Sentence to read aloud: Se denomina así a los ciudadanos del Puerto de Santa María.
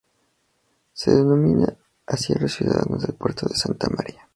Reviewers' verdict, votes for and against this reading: rejected, 2, 2